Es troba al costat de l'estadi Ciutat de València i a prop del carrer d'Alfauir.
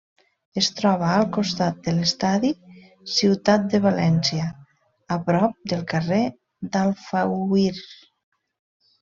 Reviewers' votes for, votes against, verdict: 1, 2, rejected